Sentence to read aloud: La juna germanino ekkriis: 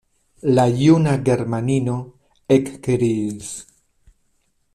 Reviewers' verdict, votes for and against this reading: accepted, 2, 0